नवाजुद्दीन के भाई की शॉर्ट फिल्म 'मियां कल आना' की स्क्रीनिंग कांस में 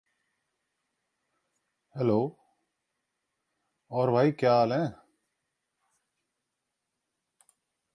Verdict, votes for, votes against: rejected, 0, 2